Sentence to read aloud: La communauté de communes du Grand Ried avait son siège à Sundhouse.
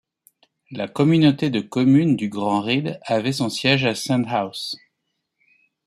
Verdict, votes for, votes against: accepted, 2, 0